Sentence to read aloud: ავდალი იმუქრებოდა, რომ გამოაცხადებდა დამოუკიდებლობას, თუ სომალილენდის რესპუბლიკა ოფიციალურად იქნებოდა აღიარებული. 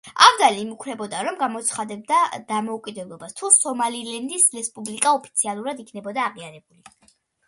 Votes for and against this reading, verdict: 2, 1, accepted